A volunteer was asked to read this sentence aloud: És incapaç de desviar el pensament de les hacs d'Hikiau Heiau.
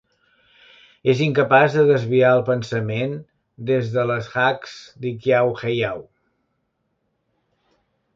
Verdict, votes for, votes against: rejected, 0, 2